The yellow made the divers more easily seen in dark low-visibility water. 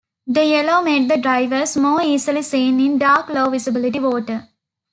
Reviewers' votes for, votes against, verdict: 2, 1, accepted